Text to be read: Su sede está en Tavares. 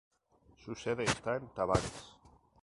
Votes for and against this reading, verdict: 2, 0, accepted